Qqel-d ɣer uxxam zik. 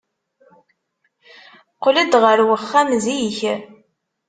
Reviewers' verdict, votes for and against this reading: accepted, 2, 0